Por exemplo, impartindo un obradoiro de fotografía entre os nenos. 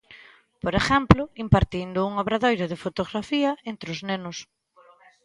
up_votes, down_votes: 0, 2